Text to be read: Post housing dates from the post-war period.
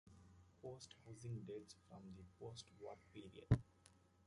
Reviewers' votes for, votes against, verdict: 1, 2, rejected